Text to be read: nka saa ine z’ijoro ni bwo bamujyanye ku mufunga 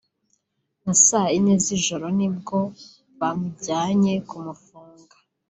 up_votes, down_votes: 2, 0